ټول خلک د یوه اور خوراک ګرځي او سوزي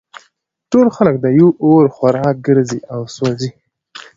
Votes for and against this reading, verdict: 2, 1, accepted